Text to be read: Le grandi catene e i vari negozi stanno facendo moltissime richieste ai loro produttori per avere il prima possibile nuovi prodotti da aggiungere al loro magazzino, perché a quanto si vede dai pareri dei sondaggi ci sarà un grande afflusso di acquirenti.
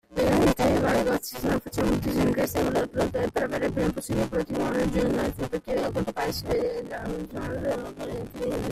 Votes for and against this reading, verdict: 0, 2, rejected